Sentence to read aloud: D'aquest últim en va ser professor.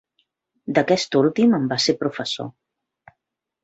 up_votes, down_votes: 2, 1